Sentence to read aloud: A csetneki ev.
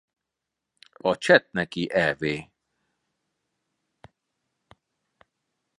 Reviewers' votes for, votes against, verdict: 2, 0, accepted